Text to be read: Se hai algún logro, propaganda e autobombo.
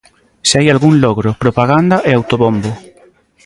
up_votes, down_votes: 2, 0